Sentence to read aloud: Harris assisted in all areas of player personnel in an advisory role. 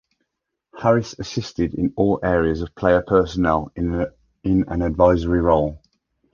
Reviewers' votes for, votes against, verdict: 1, 2, rejected